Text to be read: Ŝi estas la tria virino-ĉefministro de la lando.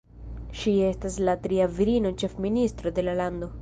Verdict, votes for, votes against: accepted, 2, 1